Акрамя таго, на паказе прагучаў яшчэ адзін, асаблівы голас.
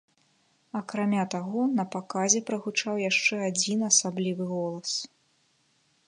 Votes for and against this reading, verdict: 2, 0, accepted